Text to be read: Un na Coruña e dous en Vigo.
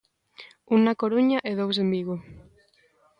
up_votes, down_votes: 2, 0